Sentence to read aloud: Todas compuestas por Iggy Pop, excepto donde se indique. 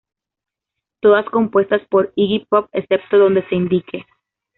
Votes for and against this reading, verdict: 2, 0, accepted